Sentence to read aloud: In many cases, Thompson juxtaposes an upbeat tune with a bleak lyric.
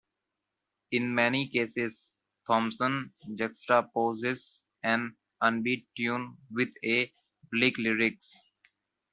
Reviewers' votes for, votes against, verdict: 1, 2, rejected